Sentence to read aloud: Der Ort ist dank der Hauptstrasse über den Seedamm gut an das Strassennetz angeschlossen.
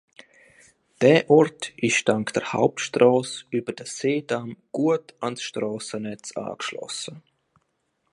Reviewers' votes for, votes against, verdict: 0, 2, rejected